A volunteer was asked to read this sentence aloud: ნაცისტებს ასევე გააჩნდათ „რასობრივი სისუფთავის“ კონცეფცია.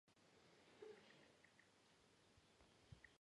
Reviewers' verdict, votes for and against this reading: rejected, 0, 2